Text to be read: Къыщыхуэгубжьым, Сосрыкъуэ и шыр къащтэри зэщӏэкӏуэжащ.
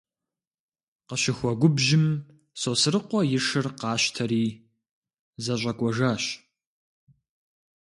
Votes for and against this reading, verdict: 2, 0, accepted